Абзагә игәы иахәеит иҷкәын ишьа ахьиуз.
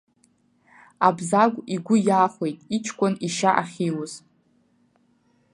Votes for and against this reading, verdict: 2, 0, accepted